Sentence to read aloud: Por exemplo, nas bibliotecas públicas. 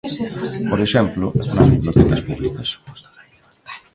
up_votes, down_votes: 0, 2